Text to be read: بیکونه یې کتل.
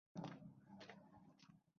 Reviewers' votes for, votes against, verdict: 0, 2, rejected